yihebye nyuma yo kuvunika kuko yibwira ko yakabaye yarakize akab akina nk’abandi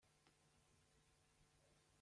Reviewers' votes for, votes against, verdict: 0, 3, rejected